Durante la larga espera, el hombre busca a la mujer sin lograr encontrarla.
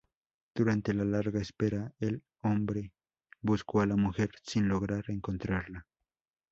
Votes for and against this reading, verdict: 0, 2, rejected